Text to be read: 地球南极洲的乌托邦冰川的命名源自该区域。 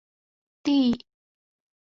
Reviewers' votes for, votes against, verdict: 0, 3, rejected